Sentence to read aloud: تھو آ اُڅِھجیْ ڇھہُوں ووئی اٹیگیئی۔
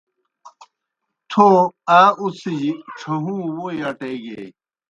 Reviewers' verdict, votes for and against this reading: accepted, 2, 0